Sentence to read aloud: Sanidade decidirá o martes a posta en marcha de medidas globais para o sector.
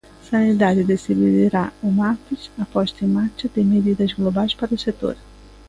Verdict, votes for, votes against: rejected, 0, 2